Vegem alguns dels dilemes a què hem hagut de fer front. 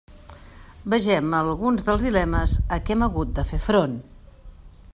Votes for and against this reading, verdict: 2, 0, accepted